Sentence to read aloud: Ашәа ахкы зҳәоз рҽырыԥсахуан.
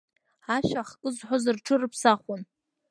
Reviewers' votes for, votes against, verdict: 2, 0, accepted